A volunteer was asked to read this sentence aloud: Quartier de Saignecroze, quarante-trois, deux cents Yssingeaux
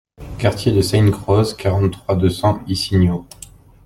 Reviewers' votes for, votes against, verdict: 1, 2, rejected